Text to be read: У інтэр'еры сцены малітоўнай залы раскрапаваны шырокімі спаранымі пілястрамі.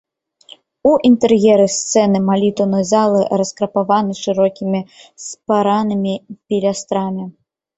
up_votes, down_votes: 0, 2